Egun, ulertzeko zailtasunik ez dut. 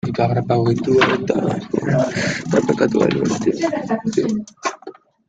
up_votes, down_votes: 0, 2